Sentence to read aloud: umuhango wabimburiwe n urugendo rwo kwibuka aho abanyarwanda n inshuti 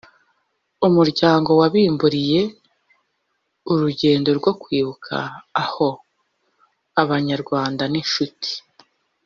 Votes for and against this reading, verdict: 1, 2, rejected